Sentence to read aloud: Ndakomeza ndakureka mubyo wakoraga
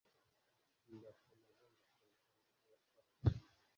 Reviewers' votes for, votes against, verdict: 0, 2, rejected